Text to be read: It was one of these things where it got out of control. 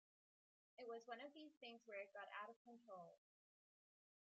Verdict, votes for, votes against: rejected, 0, 2